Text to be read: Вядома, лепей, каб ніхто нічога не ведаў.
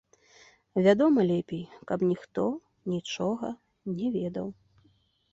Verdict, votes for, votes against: accepted, 2, 0